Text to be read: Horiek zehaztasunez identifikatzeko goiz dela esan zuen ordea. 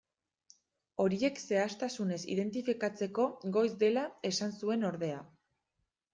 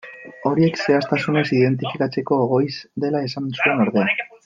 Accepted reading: first